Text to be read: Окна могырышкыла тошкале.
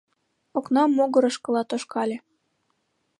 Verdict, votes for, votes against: rejected, 1, 2